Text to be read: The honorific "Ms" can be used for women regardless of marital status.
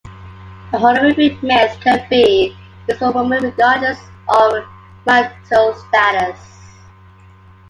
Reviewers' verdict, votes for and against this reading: rejected, 1, 2